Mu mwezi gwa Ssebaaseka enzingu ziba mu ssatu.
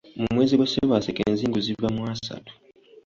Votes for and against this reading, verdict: 0, 2, rejected